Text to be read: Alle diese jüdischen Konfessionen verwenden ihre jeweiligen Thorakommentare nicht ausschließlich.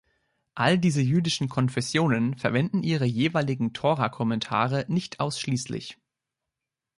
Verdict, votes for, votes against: rejected, 1, 2